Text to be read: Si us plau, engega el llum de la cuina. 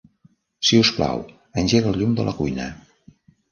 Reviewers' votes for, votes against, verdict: 3, 0, accepted